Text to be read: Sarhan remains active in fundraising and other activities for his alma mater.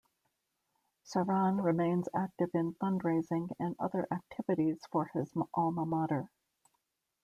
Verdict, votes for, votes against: accepted, 2, 0